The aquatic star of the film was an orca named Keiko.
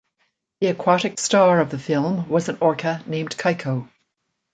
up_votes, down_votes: 2, 0